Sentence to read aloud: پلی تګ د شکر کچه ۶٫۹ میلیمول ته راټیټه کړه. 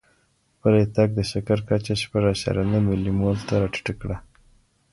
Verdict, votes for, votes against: rejected, 0, 2